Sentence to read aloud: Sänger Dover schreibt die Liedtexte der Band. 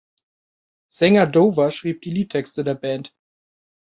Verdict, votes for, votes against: rejected, 1, 2